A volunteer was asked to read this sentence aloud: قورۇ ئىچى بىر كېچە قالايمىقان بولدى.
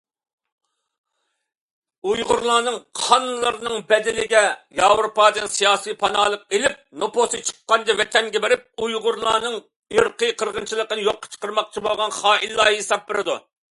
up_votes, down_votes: 0, 2